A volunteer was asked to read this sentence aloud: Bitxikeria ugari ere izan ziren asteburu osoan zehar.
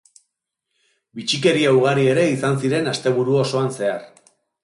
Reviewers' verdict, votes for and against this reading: accepted, 2, 0